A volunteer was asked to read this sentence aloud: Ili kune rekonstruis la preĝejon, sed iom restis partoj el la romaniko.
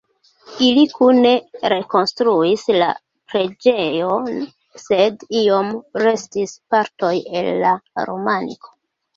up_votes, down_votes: 2, 1